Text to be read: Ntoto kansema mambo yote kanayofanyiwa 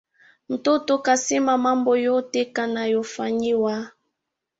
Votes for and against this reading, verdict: 2, 1, accepted